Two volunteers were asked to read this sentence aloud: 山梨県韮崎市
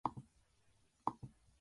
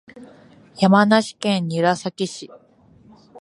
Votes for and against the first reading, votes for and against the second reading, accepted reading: 0, 2, 2, 0, second